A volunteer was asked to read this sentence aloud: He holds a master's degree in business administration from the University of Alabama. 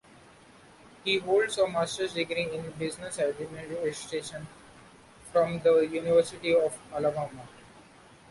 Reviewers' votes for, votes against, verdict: 0, 2, rejected